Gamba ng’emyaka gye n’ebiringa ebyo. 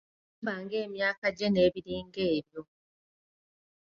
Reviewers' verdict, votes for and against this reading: rejected, 0, 2